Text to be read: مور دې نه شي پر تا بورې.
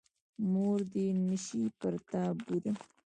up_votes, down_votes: 1, 2